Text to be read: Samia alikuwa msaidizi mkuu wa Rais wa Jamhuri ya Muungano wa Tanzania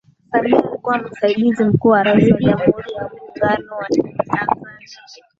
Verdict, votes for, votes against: accepted, 15, 5